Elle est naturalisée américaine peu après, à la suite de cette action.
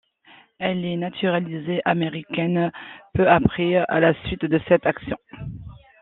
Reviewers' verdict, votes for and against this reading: accepted, 2, 0